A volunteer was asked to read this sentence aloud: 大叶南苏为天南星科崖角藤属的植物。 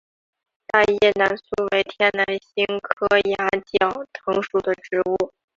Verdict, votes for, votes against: rejected, 0, 3